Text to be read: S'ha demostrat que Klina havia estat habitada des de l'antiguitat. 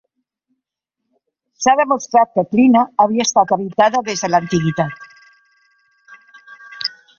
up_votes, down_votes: 3, 0